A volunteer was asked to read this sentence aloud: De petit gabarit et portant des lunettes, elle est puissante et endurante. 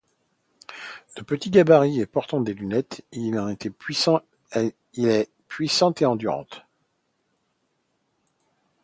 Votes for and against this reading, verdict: 0, 2, rejected